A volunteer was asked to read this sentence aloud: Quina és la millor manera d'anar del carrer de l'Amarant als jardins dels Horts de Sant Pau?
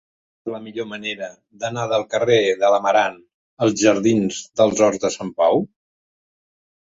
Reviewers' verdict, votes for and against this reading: rejected, 1, 2